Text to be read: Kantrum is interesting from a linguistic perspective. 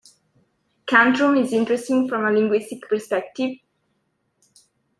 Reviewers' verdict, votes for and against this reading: accepted, 2, 0